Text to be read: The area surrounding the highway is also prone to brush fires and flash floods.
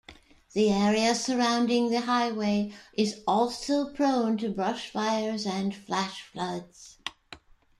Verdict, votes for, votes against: accepted, 2, 0